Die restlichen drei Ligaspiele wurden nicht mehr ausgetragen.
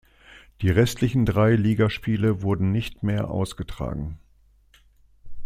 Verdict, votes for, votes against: accepted, 2, 0